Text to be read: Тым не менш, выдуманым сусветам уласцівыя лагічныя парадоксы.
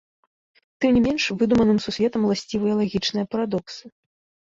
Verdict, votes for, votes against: rejected, 1, 2